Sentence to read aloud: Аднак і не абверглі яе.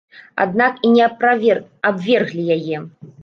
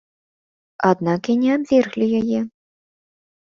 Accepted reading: second